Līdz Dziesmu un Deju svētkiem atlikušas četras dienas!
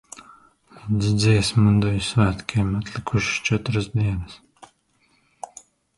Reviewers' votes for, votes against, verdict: 1, 2, rejected